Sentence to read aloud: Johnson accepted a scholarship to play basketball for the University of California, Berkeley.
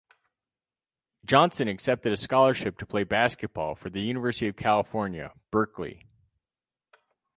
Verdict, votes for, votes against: accepted, 4, 0